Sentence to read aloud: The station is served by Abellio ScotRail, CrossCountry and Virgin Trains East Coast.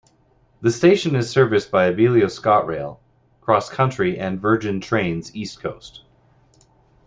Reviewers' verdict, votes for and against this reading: rejected, 0, 2